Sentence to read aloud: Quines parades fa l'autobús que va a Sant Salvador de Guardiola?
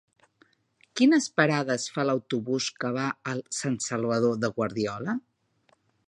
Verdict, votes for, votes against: rejected, 0, 2